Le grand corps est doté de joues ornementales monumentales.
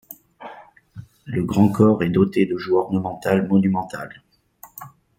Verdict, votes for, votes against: accepted, 2, 0